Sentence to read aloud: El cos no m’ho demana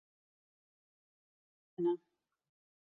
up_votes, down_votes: 0, 2